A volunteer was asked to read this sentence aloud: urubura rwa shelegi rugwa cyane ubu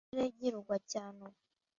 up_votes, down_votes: 0, 2